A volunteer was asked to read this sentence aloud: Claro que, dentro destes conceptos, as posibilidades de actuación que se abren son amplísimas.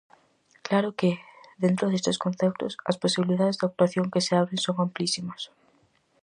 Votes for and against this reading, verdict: 4, 0, accepted